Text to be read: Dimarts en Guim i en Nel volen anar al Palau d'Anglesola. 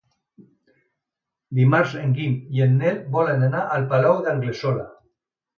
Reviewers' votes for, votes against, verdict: 2, 0, accepted